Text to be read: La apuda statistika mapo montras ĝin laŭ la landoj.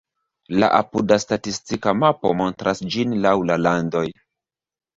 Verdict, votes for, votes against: rejected, 1, 2